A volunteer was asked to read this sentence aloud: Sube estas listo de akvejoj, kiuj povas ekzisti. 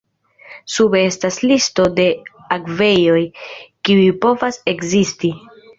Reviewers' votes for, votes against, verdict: 2, 0, accepted